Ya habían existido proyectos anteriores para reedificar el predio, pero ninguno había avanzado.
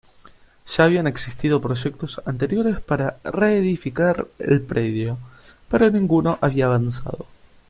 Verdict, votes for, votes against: rejected, 1, 2